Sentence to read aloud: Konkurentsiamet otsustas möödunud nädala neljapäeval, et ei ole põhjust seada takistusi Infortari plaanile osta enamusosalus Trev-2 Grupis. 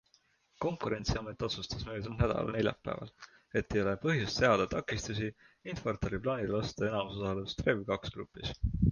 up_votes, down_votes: 0, 2